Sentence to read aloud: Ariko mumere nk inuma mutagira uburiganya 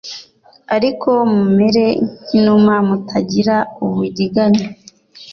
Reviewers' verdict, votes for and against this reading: rejected, 1, 2